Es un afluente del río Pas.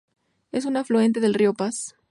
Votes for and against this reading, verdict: 4, 0, accepted